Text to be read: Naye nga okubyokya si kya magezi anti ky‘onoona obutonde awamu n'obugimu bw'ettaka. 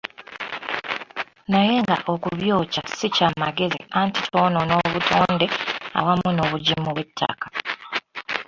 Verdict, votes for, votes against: rejected, 0, 2